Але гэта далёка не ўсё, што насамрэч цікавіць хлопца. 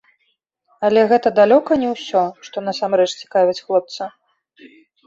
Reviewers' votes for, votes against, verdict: 2, 0, accepted